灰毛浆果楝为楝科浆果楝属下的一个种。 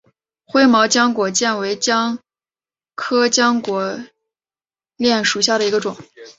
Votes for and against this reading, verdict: 0, 2, rejected